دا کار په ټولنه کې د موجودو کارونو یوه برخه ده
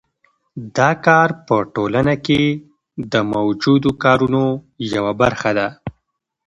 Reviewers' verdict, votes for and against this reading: accepted, 2, 0